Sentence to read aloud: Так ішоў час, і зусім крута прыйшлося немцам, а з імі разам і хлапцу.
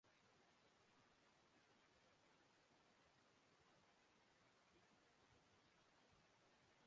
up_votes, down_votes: 0, 3